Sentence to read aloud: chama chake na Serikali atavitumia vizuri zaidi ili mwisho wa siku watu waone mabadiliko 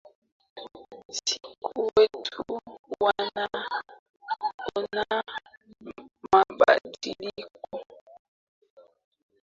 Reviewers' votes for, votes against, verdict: 0, 2, rejected